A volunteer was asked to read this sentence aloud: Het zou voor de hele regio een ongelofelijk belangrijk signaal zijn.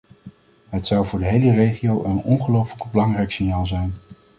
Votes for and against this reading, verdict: 2, 0, accepted